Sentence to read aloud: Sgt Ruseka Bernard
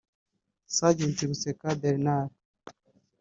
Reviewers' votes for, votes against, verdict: 1, 2, rejected